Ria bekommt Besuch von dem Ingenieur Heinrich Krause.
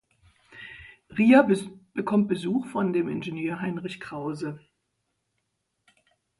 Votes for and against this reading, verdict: 0, 2, rejected